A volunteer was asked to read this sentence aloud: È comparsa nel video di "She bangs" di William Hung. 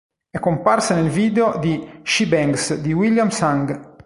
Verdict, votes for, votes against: rejected, 1, 2